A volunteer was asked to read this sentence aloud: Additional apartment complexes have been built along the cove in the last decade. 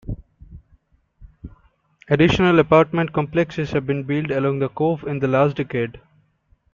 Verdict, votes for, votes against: accepted, 2, 0